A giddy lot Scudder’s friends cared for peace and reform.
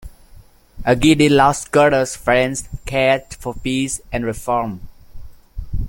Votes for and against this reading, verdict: 0, 2, rejected